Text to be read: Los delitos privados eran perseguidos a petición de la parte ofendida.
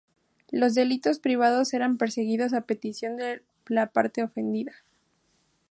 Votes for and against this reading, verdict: 2, 2, rejected